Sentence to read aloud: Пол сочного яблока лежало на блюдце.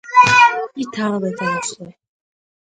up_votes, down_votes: 0, 2